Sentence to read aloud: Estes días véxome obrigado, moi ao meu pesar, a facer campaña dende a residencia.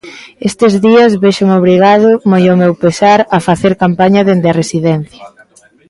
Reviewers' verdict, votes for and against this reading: accepted, 2, 0